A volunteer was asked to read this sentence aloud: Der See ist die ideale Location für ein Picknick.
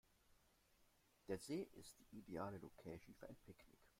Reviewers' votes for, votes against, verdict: 0, 2, rejected